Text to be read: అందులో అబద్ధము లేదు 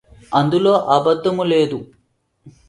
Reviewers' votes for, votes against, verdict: 2, 0, accepted